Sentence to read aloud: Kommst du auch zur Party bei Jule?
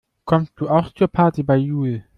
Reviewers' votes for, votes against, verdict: 1, 2, rejected